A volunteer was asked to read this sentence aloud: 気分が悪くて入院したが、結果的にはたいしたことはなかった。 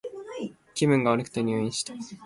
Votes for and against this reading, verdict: 1, 2, rejected